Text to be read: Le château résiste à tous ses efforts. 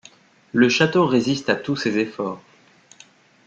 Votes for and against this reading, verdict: 2, 0, accepted